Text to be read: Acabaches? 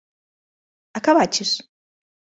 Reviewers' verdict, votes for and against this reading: accepted, 2, 0